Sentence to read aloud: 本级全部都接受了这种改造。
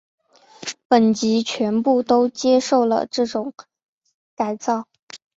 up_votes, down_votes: 4, 0